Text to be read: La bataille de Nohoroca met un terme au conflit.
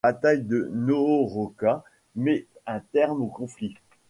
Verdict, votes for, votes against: rejected, 0, 2